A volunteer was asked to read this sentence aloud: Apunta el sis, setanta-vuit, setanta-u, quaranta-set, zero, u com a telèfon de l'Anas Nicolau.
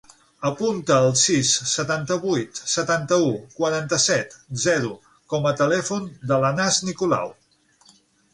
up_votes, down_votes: 0, 6